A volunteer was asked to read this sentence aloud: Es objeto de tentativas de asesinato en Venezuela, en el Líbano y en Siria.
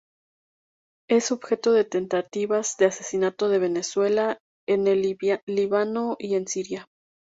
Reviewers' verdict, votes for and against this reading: accepted, 2, 0